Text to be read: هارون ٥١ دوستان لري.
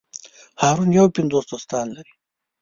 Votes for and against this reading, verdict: 0, 2, rejected